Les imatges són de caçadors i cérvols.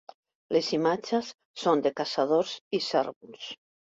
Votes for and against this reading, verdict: 3, 1, accepted